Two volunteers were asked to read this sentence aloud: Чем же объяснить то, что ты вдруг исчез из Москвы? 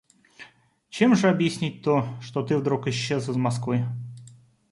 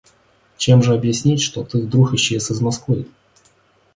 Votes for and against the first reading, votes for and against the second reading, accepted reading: 2, 0, 0, 2, first